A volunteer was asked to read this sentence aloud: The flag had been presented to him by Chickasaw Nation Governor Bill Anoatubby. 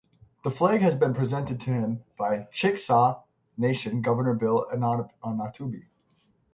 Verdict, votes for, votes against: rejected, 0, 3